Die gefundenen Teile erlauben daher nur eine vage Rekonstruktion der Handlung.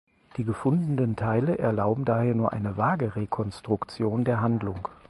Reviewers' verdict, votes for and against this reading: accepted, 4, 0